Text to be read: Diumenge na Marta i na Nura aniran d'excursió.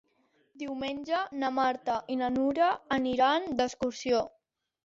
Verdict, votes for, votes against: accepted, 3, 0